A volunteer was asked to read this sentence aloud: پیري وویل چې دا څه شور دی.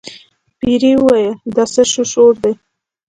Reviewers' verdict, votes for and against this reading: accepted, 2, 0